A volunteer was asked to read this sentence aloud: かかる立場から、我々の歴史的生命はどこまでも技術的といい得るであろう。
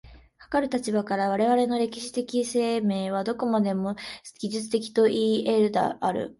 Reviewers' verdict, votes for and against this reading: accepted, 2, 1